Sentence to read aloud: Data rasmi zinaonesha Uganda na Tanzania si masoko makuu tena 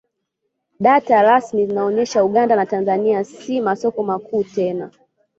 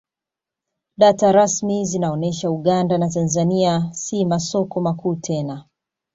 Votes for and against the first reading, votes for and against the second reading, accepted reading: 1, 2, 2, 0, second